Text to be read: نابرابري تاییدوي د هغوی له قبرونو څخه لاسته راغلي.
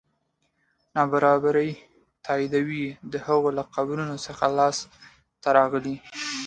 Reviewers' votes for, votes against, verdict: 2, 0, accepted